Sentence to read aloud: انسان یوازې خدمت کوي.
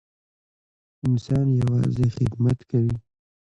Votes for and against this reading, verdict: 0, 2, rejected